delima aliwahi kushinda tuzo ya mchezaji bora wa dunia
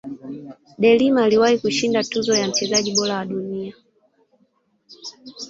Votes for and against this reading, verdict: 3, 2, accepted